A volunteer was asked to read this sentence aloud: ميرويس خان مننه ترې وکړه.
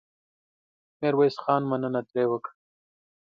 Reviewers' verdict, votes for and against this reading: accepted, 2, 0